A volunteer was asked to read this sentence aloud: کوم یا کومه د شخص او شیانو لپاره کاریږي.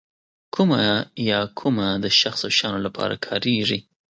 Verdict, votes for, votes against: rejected, 1, 2